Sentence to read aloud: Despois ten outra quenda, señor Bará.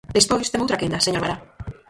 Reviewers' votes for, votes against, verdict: 0, 4, rejected